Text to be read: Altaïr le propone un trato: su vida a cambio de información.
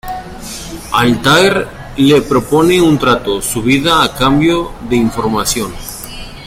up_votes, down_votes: 2, 1